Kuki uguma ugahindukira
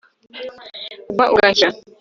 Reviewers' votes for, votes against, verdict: 1, 2, rejected